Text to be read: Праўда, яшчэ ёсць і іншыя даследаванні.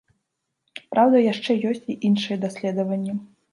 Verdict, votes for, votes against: accepted, 2, 0